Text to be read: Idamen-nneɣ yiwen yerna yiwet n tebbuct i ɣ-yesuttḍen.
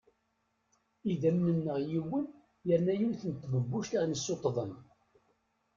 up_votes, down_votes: 1, 2